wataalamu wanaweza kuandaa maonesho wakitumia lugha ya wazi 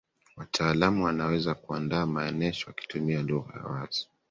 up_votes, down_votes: 1, 2